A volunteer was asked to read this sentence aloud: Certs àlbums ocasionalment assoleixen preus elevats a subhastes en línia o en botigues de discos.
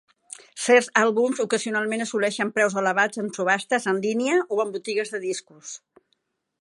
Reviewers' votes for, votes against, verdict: 0, 2, rejected